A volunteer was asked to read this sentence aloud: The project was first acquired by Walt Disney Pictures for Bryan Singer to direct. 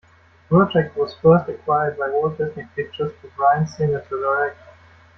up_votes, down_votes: 0, 2